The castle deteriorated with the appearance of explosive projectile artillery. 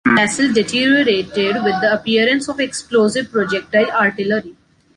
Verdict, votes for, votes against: rejected, 2, 3